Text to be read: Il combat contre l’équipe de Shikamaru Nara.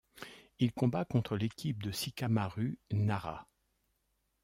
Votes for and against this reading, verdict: 1, 2, rejected